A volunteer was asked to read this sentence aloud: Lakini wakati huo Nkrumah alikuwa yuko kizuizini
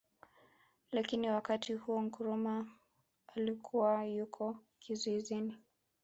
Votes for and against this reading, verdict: 2, 1, accepted